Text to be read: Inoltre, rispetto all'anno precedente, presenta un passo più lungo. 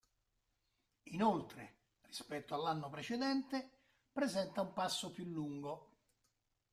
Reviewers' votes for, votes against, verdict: 2, 0, accepted